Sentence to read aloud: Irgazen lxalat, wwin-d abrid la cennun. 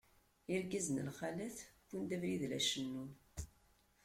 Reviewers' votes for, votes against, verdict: 2, 0, accepted